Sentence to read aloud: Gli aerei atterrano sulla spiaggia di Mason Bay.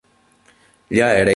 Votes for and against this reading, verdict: 0, 3, rejected